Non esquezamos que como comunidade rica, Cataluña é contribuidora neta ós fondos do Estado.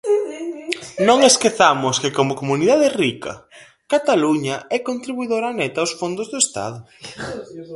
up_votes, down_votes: 0, 4